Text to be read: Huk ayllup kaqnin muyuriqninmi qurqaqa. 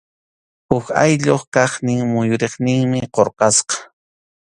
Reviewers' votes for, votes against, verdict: 2, 0, accepted